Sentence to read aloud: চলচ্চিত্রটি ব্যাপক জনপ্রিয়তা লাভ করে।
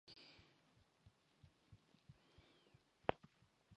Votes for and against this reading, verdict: 0, 13, rejected